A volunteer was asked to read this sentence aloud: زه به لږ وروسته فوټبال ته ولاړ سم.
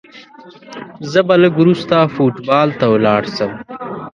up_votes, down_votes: 1, 2